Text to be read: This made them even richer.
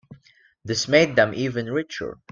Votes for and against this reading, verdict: 2, 0, accepted